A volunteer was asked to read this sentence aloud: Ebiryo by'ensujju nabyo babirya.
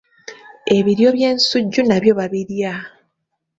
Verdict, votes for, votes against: accepted, 3, 0